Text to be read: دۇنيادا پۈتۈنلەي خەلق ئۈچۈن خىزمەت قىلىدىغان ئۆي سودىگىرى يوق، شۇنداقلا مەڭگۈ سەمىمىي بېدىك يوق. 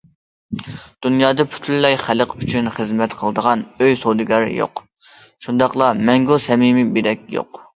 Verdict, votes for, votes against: rejected, 1, 2